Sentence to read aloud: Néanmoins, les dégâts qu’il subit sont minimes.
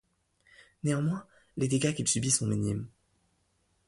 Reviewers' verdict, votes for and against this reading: accepted, 2, 0